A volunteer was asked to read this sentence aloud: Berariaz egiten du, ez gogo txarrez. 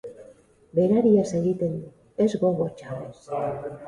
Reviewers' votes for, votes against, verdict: 0, 2, rejected